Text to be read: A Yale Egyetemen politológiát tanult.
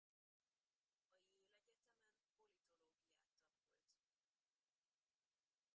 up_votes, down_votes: 0, 2